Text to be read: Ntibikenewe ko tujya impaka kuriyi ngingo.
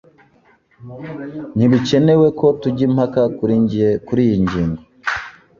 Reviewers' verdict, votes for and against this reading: rejected, 0, 2